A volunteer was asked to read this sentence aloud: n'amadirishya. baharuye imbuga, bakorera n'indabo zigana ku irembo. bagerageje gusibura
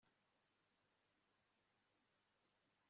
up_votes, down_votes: 1, 2